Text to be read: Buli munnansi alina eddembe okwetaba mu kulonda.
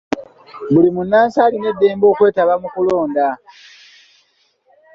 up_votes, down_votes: 2, 0